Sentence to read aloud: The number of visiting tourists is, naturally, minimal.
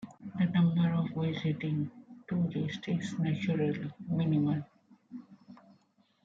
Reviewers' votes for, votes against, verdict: 0, 2, rejected